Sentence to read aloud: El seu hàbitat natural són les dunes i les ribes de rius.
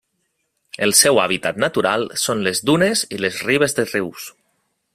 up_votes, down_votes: 1, 2